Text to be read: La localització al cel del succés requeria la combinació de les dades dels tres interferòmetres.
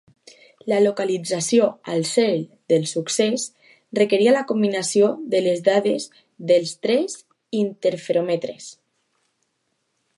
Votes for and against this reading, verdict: 2, 0, accepted